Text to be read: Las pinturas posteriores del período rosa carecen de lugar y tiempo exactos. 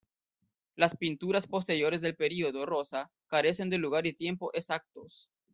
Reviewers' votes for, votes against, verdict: 1, 2, rejected